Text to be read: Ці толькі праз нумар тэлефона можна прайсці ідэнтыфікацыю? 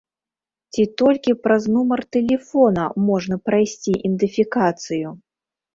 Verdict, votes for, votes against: rejected, 0, 3